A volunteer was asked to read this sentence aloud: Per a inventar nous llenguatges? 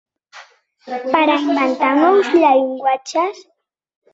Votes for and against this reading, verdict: 0, 2, rejected